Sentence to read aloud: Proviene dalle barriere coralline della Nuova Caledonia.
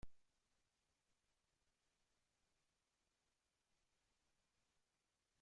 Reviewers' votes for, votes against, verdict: 0, 2, rejected